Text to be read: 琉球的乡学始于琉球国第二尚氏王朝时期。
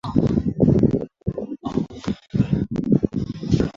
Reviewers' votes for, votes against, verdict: 1, 2, rejected